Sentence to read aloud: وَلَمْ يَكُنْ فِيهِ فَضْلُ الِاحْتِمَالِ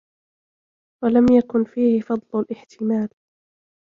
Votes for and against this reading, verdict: 1, 2, rejected